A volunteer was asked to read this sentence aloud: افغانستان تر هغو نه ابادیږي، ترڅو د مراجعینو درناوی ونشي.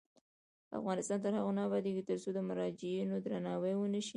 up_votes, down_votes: 1, 2